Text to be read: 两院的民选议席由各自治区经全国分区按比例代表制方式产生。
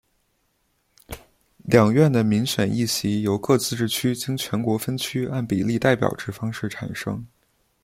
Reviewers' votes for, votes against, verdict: 2, 0, accepted